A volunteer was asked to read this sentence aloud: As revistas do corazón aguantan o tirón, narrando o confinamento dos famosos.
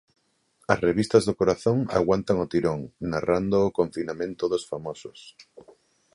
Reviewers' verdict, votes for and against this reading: accepted, 2, 1